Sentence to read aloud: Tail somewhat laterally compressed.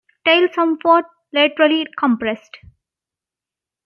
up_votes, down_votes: 1, 2